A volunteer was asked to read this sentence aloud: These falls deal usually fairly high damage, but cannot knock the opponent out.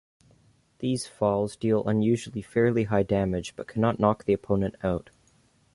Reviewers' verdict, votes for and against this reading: rejected, 0, 2